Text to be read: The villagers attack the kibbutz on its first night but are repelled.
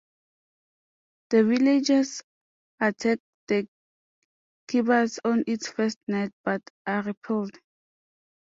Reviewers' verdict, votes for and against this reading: rejected, 1, 2